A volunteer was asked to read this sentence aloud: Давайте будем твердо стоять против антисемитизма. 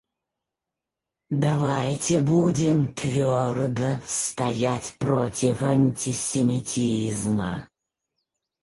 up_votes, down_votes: 0, 4